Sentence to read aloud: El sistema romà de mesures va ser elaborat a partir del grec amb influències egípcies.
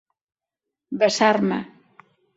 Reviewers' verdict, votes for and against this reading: rejected, 0, 4